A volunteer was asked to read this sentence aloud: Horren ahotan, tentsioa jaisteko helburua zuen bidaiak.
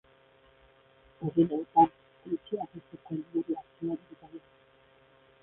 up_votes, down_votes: 0, 2